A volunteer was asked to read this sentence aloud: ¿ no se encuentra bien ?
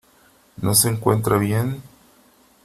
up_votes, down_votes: 3, 0